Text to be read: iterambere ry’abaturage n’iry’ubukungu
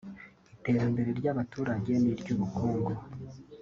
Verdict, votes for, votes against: accepted, 3, 0